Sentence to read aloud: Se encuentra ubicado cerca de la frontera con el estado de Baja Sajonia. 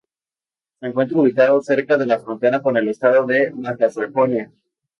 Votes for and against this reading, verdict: 2, 2, rejected